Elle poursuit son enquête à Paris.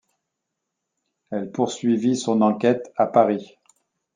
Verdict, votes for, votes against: rejected, 0, 2